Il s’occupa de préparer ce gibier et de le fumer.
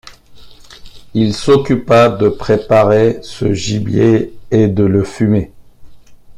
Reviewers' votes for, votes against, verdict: 2, 0, accepted